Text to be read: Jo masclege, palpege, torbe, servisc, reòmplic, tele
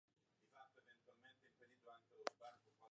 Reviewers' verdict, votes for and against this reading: rejected, 0, 2